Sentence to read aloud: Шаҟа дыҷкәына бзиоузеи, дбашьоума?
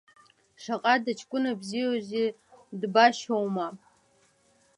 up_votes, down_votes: 1, 2